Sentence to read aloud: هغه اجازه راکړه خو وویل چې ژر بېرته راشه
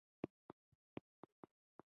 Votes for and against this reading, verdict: 1, 2, rejected